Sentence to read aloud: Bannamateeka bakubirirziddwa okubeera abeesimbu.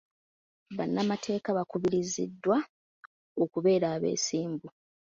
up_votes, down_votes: 1, 2